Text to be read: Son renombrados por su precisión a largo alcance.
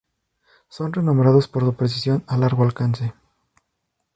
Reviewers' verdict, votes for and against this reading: rejected, 0, 2